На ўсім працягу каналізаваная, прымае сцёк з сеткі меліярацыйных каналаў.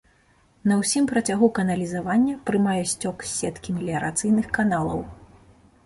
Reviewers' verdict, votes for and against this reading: rejected, 0, 2